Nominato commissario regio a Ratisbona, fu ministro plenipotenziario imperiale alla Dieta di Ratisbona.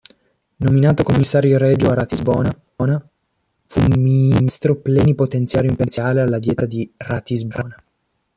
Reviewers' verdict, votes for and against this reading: rejected, 0, 2